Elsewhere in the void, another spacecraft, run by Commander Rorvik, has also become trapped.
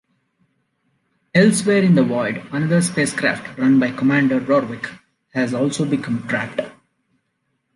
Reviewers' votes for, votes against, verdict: 2, 0, accepted